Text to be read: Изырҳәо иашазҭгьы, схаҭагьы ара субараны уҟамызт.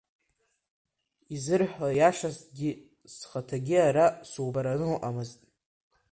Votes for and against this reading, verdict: 2, 1, accepted